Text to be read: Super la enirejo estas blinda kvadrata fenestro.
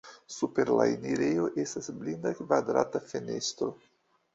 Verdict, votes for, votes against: rejected, 1, 2